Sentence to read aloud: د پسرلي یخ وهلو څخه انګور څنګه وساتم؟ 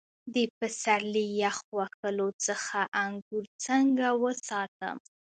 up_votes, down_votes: 0, 2